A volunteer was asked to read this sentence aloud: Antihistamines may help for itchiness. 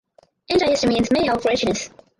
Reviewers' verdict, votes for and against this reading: rejected, 0, 4